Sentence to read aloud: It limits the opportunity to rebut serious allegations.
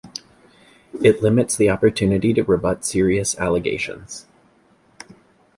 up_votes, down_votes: 2, 0